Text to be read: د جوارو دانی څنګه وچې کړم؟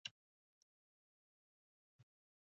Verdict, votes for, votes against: rejected, 0, 2